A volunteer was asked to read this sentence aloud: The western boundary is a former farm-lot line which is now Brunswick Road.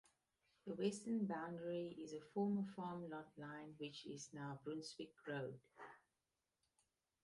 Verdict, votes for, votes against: accepted, 2, 0